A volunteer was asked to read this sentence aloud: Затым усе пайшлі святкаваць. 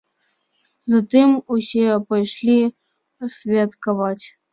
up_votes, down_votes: 2, 0